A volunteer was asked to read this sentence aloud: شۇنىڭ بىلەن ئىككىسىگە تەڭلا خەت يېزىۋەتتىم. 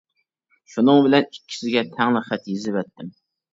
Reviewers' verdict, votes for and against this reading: accepted, 2, 0